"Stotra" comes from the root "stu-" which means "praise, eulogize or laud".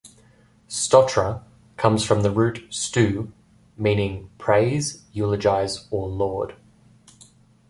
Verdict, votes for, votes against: rejected, 0, 2